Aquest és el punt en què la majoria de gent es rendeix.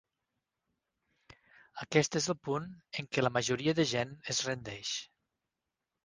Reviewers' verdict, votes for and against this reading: rejected, 2, 4